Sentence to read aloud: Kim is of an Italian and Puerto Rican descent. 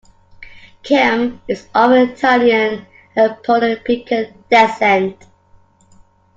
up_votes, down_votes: 1, 2